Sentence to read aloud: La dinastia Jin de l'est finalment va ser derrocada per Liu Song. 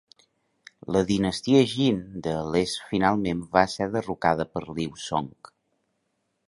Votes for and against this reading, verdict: 2, 1, accepted